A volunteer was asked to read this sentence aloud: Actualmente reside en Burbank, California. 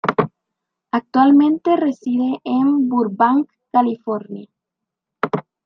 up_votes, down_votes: 2, 1